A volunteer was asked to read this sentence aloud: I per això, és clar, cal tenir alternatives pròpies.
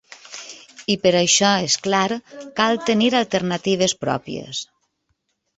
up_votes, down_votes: 4, 0